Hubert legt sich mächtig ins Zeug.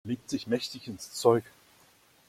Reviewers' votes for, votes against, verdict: 0, 2, rejected